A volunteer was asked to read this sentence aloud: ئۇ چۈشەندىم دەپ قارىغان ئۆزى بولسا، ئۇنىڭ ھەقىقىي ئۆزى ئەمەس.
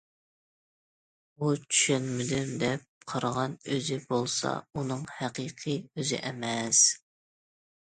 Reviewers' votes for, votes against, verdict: 0, 2, rejected